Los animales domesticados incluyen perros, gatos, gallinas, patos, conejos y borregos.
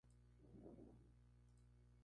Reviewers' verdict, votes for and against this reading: rejected, 0, 2